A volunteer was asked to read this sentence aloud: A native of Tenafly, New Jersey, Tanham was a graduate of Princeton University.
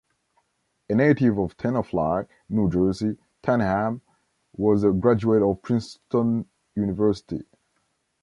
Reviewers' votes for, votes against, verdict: 2, 1, accepted